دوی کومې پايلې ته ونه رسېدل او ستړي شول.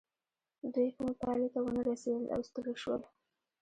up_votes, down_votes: 1, 2